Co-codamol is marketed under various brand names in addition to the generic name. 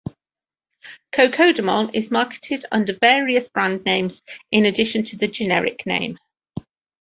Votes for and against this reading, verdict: 2, 1, accepted